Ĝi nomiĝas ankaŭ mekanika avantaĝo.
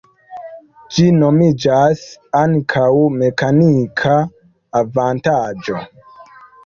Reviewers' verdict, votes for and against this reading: accepted, 3, 2